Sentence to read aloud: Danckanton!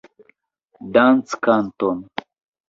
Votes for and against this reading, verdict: 2, 0, accepted